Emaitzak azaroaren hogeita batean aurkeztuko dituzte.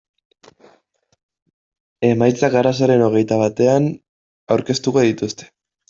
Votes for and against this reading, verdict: 0, 2, rejected